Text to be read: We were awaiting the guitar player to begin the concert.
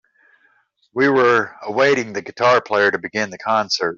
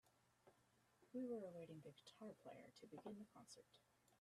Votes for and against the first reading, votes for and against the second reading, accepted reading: 3, 0, 1, 2, first